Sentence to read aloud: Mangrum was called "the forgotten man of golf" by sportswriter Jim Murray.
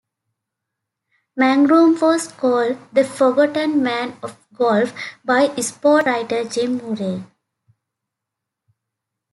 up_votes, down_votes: 0, 2